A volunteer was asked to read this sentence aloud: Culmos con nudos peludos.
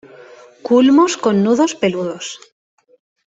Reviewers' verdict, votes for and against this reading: accepted, 2, 0